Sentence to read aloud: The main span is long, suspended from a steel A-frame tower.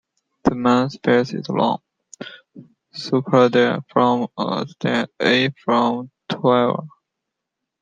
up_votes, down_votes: 1, 2